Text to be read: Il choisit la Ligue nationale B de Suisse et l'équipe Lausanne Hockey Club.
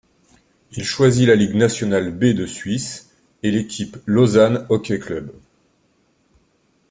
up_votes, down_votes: 2, 0